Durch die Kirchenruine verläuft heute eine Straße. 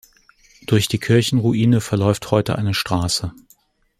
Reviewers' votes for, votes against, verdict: 2, 0, accepted